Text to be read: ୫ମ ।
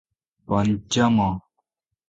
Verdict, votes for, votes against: rejected, 0, 2